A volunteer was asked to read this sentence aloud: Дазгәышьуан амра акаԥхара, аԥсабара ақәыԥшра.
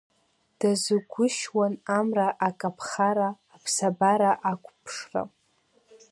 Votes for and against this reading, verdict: 0, 2, rejected